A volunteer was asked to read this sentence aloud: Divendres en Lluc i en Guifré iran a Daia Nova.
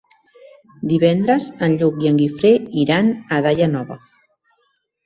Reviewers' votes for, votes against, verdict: 3, 0, accepted